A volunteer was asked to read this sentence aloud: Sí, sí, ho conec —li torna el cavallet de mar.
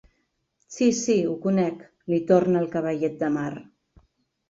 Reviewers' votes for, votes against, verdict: 2, 0, accepted